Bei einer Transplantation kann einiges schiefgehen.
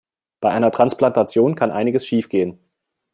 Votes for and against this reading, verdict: 2, 0, accepted